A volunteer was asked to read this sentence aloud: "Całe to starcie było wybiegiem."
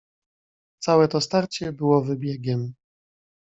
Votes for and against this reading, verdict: 2, 0, accepted